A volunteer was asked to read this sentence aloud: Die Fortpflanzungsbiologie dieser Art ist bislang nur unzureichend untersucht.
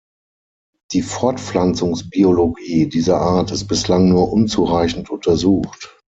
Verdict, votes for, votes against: accepted, 6, 0